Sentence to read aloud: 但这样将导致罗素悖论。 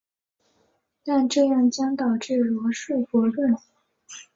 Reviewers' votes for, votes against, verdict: 3, 1, accepted